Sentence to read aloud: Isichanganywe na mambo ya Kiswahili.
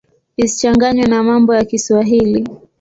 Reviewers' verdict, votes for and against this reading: accepted, 2, 0